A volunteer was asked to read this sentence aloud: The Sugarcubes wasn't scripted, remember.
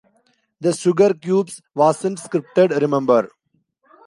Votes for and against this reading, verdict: 2, 0, accepted